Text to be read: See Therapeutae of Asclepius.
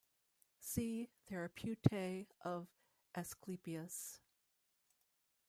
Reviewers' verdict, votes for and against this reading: rejected, 0, 2